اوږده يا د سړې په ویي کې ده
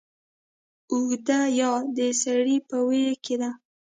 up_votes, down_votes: 1, 2